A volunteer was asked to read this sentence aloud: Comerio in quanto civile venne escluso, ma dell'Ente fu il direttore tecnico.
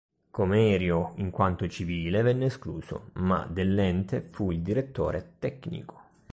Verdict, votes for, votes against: accepted, 2, 0